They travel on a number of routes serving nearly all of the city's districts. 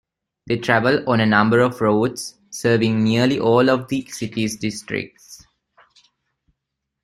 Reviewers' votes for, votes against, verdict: 2, 1, accepted